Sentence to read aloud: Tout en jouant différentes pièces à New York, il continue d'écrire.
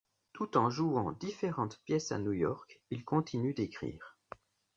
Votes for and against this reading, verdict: 2, 0, accepted